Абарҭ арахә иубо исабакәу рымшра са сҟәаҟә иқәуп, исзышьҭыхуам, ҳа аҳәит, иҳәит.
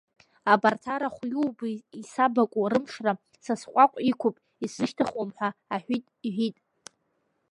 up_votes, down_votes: 2, 0